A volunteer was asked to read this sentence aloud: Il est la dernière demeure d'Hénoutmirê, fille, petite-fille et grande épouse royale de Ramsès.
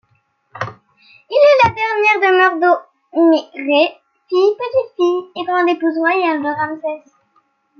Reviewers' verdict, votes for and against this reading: accepted, 2, 1